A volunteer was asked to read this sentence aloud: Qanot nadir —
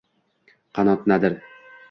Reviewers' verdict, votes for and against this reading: accepted, 2, 0